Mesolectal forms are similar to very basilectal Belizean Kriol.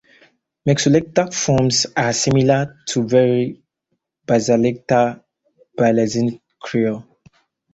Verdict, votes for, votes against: rejected, 0, 4